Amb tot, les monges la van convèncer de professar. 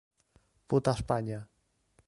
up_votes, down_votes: 0, 2